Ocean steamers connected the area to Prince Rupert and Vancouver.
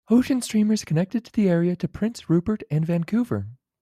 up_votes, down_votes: 1, 2